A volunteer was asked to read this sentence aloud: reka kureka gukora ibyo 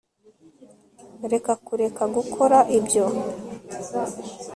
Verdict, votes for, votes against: accepted, 2, 0